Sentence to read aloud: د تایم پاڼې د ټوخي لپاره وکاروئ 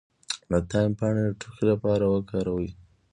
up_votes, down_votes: 1, 2